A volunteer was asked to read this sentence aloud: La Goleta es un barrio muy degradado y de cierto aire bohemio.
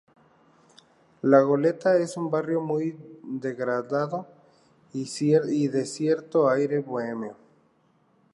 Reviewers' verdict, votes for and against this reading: rejected, 0, 2